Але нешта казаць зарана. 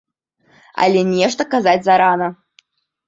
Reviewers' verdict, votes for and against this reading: accepted, 2, 0